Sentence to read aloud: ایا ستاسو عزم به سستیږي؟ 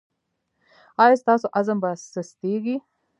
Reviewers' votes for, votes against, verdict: 0, 2, rejected